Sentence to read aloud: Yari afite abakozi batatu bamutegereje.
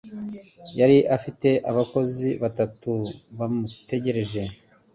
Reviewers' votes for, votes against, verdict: 2, 0, accepted